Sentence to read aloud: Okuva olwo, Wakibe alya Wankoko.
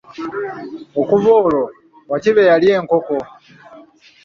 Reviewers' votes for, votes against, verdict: 0, 2, rejected